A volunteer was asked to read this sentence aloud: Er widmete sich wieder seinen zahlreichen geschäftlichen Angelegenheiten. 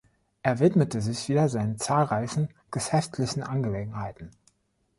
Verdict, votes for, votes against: rejected, 1, 2